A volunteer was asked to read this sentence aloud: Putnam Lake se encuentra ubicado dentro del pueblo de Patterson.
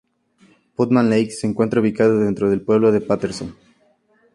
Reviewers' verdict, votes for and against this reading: accepted, 2, 0